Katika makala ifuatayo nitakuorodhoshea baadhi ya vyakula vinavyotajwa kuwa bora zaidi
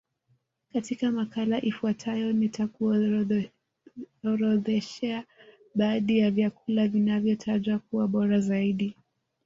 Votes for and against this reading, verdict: 2, 0, accepted